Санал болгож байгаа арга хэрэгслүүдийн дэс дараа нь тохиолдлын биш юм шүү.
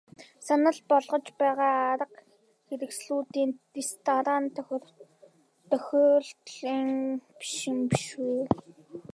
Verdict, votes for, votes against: rejected, 0, 2